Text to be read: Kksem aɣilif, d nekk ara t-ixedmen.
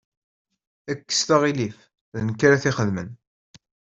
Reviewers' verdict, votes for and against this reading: rejected, 0, 2